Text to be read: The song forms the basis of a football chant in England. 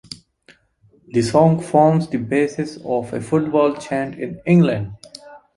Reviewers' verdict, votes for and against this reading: accepted, 2, 0